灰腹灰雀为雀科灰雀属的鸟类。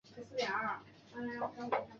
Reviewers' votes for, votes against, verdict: 0, 2, rejected